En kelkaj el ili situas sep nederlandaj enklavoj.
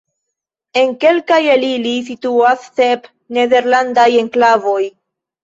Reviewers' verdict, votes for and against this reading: rejected, 1, 2